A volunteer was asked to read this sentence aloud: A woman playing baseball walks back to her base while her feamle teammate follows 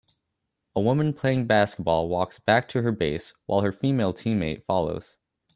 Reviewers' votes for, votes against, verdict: 1, 2, rejected